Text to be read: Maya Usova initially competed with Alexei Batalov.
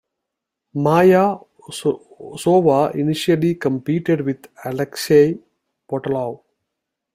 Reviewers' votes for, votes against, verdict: 1, 2, rejected